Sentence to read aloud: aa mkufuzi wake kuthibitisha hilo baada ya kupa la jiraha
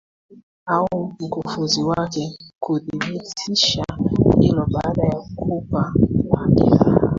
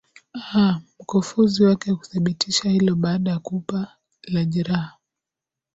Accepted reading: second